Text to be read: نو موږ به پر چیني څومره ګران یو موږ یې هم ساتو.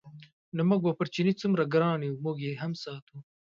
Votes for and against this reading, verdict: 2, 0, accepted